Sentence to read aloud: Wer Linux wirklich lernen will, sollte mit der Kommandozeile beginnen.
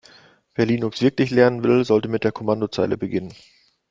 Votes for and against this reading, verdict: 2, 0, accepted